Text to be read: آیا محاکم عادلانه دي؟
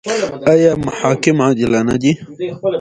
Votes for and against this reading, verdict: 2, 0, accepted